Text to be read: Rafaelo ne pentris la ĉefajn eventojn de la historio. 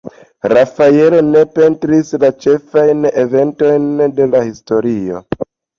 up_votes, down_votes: 2, 0